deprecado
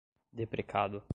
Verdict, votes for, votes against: accepted, 2, 0